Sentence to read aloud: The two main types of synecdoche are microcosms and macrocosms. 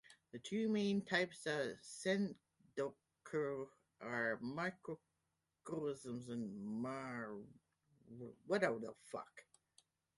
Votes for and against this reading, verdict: 0, 2, rejected